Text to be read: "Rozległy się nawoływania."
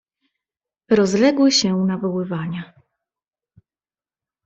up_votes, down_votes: 2, 0